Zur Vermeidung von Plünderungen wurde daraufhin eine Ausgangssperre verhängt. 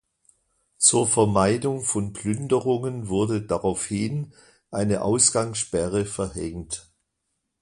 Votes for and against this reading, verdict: 2, 0, accepted